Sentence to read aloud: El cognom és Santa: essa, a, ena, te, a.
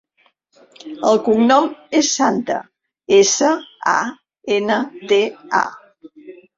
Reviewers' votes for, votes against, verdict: 1, 2, rejected